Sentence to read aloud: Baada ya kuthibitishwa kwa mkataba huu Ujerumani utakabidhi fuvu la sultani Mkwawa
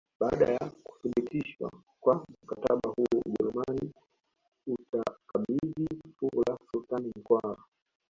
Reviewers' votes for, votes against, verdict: 1, 2, rejected